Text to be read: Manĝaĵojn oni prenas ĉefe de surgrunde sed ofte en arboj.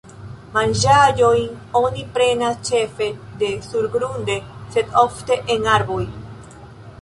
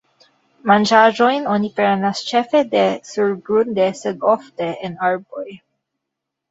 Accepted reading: first